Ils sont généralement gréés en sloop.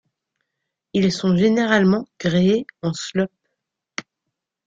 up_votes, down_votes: 0, 2